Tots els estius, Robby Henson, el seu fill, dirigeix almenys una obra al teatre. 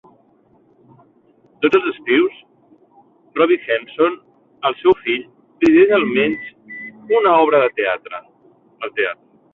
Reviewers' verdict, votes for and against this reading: rejected, 0, 3